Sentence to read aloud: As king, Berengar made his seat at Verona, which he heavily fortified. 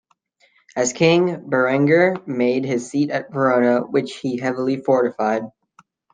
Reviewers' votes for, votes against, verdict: 2, 1, accepted